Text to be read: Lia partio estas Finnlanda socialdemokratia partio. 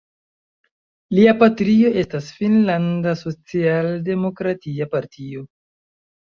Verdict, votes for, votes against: rejected, 1, 2